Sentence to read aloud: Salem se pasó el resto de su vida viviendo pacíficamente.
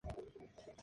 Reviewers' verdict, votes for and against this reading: rejected, 0, 2